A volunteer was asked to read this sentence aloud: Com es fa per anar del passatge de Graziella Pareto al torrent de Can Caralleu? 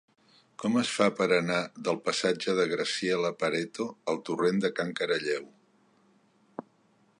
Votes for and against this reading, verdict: 1, 2, rejected